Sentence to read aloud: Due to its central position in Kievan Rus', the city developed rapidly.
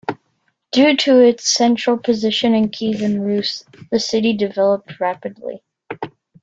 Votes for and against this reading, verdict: 2, 0, accepted